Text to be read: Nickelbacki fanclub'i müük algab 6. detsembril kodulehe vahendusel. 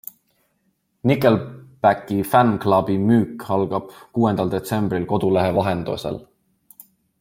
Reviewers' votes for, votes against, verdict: 0, 2, rejected